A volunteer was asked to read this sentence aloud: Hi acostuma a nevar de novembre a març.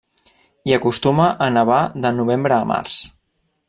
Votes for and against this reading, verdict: 3, 0, accepted